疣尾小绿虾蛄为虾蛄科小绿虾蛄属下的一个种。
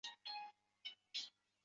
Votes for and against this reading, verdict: 0, 2, rejected